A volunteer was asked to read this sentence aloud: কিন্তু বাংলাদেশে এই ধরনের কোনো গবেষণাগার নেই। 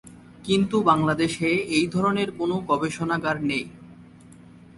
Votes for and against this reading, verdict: 4, 0, accepted